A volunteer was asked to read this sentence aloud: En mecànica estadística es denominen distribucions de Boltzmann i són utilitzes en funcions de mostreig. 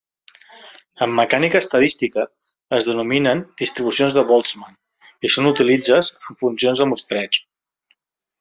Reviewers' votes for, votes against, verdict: 2, 1, accepted